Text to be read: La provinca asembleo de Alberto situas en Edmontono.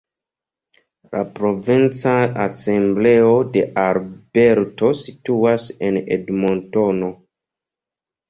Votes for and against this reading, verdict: 2, 0, accepted